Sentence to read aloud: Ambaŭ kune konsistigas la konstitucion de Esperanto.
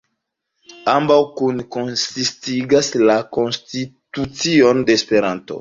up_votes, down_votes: 2, 1